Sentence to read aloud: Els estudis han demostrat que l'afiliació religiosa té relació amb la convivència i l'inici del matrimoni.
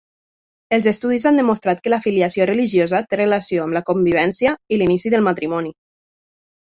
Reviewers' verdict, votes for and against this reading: accepted, 2, 0